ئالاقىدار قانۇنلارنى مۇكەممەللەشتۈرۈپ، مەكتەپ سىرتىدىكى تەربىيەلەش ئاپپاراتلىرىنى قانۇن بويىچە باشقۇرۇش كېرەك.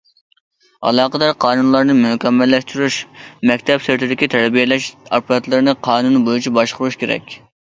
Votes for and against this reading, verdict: 0, 2, rejected